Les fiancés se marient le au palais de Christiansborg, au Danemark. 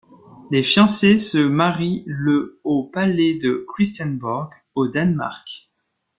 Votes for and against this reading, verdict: 2, 1, accepted